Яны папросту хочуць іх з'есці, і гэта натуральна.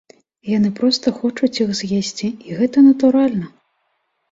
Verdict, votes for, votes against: rejected, 2, 3